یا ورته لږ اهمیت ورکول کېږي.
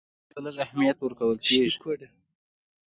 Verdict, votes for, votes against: accepted, 2, 0